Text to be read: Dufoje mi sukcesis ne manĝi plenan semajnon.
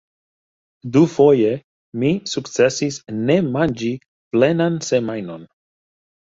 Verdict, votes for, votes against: accepted, 2, 1